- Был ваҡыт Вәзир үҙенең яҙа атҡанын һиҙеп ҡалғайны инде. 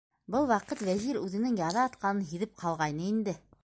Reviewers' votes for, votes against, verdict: 2, 0, accepted